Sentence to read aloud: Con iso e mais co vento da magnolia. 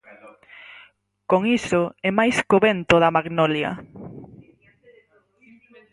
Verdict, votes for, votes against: rejected, 2, 4